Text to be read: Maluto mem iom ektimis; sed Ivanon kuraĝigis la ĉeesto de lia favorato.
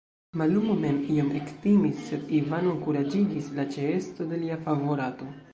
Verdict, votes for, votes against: rejected, 1, 2